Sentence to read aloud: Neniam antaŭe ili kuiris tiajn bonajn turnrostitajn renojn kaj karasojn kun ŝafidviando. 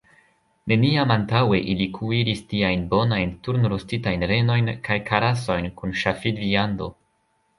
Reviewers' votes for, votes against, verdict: 0, 2, rejected